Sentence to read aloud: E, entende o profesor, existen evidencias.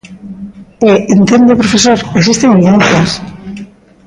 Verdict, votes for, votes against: rejected, 0, 2